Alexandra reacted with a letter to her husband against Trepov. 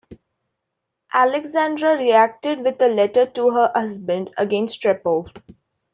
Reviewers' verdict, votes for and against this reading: accepted, 2, 0